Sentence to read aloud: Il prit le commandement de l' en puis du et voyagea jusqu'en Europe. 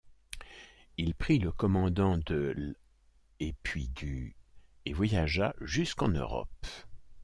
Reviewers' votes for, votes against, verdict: 0, 2, rejected